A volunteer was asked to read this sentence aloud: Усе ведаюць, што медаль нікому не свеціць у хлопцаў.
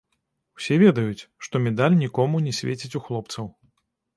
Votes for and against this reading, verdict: 0, 2, rejected